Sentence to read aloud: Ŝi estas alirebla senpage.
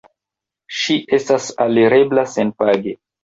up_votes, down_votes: 2, 0